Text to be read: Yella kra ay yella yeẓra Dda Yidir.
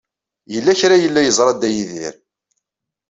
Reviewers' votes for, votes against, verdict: 2, 0, accepted